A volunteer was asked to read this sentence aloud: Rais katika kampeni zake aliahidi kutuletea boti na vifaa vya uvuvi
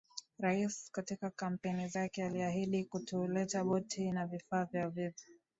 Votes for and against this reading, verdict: 2, 1, accepted